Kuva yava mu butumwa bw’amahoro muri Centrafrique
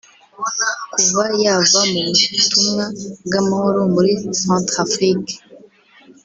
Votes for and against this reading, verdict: 2, 0, accepted